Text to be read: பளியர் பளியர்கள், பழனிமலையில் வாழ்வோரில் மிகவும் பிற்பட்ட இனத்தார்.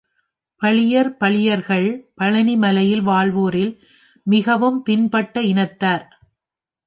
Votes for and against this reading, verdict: 1, 3, rejected